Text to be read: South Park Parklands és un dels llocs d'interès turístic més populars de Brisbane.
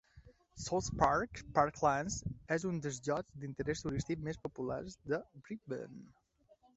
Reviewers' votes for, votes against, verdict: 1, 2, rejected